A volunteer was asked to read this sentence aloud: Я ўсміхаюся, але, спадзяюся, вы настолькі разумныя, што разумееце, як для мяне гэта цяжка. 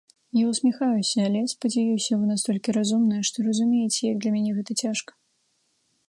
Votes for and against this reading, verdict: 2, 0, accepted